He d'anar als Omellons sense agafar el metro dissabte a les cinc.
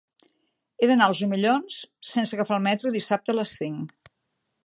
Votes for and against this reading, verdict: 5, 0, accepted